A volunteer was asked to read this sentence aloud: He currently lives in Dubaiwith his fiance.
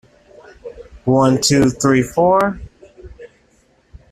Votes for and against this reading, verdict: 0, 2, rejected